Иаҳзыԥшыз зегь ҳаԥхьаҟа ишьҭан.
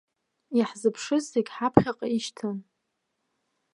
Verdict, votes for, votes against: rejected, 0, 2